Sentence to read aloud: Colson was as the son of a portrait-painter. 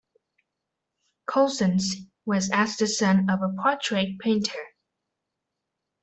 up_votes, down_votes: 0, 2